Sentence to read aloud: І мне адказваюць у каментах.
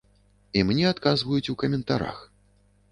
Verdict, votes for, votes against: rejected, 0, 2